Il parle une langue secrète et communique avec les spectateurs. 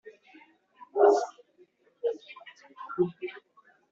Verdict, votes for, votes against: rejected, 0, 2